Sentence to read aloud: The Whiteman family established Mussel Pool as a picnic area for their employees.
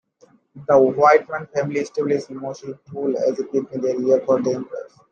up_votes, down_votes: 2, 0